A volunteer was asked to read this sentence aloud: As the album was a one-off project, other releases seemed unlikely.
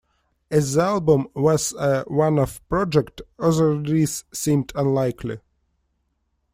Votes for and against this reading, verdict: 1, 2, rejected